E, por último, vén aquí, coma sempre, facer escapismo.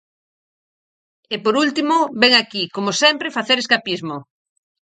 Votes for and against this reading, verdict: 2, 2, rejected